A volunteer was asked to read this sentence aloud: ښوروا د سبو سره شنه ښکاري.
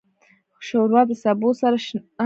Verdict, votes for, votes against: rejected, 0, 2